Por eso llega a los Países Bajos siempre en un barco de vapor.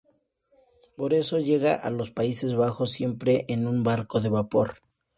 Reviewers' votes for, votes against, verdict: 2, 0, accepted